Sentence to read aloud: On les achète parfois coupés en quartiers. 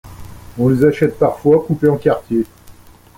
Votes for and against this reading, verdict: 2, 0, accepted